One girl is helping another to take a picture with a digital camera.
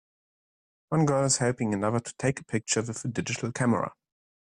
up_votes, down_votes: 0, 2